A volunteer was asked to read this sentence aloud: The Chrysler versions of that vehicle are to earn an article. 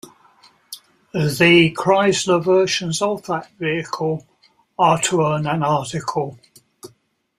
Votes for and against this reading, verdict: 2, 0, accepted